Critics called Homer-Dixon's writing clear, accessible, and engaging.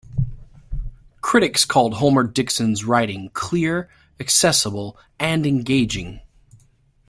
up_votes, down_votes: 3, 0